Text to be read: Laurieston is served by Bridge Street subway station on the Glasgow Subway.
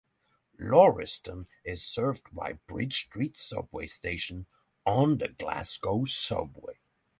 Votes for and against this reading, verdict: 3, 0, accepted